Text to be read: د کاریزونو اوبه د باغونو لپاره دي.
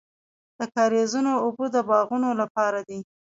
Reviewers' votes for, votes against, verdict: 1, 2, rejected